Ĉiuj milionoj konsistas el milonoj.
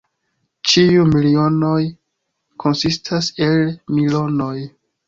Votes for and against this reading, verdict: 1, 2, rejected